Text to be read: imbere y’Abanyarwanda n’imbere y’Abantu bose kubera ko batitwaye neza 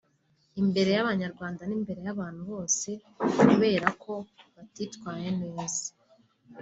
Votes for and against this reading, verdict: 2, 0, accepted